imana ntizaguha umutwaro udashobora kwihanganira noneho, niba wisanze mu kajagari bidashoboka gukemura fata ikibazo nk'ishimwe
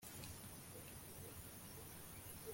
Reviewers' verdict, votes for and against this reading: rejected, 1, 2